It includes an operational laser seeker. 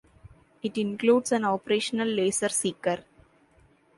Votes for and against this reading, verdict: 2, 0, accepted